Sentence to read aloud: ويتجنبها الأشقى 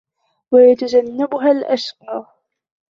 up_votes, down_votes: 2, 1